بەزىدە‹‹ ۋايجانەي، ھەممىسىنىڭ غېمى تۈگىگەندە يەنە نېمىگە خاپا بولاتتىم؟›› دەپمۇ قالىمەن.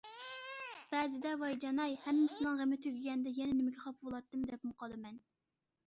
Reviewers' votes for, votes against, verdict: 2, 0, accepted